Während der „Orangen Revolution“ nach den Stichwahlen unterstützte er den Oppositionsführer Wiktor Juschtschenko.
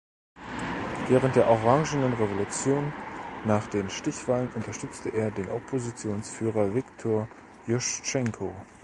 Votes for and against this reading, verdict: 1, 2, rejected